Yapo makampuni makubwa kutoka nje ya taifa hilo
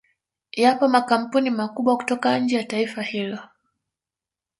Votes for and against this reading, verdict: 0, 2, rejected